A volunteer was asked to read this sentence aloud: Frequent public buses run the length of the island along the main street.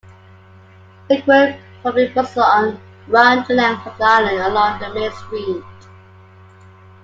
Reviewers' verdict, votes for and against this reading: accepted, 2, 0